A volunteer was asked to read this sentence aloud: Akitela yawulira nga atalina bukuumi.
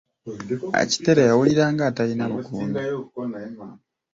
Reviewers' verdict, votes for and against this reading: rejected, 1, 2